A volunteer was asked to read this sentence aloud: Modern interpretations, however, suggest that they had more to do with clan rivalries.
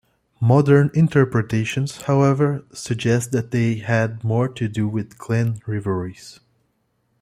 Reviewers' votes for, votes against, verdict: 2, 0, accepted